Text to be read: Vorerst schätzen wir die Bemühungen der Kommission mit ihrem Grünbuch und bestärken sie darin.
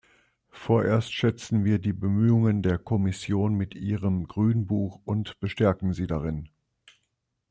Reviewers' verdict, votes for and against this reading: accepted, 2, 0